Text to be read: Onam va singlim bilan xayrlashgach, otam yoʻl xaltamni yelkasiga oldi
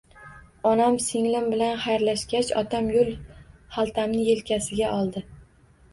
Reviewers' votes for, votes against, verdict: 1, 2, rejected